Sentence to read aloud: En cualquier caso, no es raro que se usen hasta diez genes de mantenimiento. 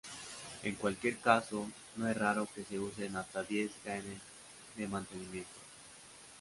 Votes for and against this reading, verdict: 2, 0, accepted